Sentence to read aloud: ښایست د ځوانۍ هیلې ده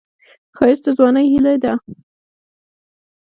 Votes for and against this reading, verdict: 2, 0, accepted